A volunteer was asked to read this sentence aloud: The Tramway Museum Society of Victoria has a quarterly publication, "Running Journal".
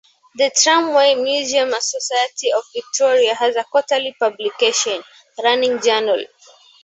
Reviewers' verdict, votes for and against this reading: rejected, 1, 2